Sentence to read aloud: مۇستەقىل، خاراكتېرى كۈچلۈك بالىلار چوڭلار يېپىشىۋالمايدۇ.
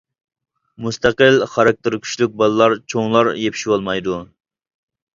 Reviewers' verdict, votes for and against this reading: accepted, 2, 0